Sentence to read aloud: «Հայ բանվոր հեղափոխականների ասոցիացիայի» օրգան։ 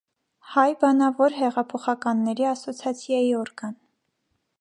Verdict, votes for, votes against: rejected, 1, 2